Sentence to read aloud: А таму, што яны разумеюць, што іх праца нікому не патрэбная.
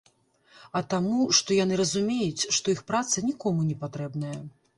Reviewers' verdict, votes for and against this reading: accepted, 2, 0